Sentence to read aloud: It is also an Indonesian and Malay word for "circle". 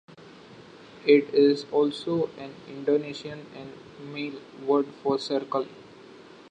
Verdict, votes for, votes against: accepted, 2, 1